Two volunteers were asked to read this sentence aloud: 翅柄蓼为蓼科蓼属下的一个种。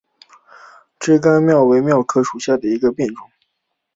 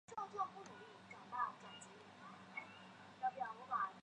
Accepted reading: first